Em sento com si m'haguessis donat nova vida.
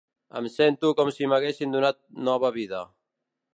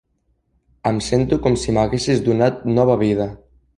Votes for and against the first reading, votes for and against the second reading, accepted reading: 1, 2, 3, 0, second